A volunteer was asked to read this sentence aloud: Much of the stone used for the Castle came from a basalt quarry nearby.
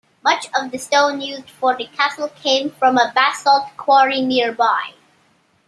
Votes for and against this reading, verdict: 1, 2, rejected